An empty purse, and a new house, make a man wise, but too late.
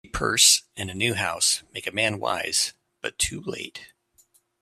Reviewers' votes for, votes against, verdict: 1, 2, rejected